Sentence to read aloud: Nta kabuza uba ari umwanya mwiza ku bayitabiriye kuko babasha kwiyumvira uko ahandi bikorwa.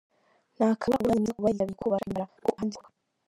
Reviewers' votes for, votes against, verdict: 0, 2, rejected